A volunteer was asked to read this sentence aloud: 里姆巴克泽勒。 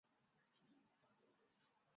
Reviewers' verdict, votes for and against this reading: rejected, 0, 2